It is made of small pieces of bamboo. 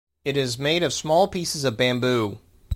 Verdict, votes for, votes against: accepted, 2, 0